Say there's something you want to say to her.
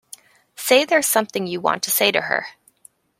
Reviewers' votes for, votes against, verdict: 2, 0, accepted